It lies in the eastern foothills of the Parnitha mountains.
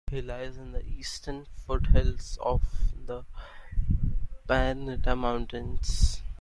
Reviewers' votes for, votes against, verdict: 0, 2, rejected